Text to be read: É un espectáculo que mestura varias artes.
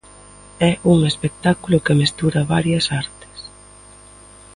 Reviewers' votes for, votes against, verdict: 2, 0, accepted